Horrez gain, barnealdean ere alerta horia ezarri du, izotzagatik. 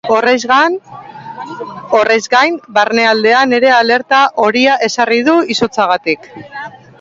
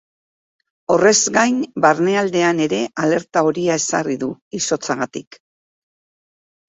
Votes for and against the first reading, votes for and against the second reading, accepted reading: 0, 2, 8, 0, second